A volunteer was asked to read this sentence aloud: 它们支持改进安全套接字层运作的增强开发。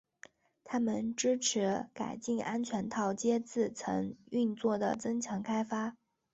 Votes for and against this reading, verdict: 2, 0, accepted